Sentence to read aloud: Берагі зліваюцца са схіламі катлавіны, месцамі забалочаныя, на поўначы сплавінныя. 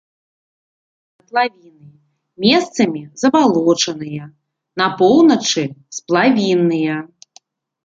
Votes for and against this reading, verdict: 0, 2, rejected